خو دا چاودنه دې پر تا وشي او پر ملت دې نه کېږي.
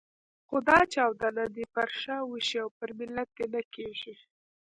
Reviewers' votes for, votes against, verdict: 0, 2, rejected